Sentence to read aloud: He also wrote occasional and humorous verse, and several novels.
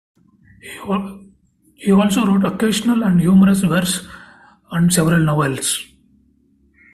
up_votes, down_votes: 1, 2